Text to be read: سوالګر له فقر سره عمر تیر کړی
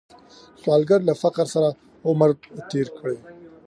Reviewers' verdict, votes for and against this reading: rejected, 1, 2